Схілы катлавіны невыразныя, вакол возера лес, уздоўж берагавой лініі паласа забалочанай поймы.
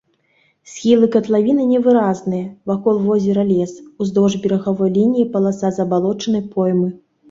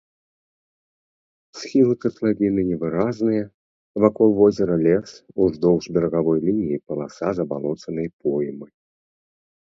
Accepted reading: first